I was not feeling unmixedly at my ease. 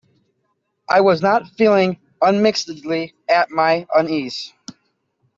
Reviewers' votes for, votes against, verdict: 1, 2, rejected